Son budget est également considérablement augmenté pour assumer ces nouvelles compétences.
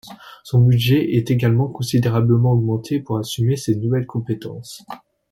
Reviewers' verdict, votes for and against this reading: accepted, 2, 0